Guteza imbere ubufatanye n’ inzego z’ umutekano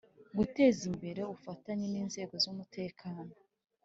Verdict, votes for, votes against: accepted, 2, 0